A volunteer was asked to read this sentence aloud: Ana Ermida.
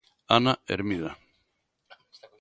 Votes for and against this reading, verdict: 2, 0, accepted